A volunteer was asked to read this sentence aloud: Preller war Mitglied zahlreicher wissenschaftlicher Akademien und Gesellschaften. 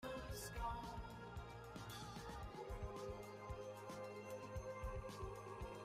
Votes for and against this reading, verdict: 0, 2, rejected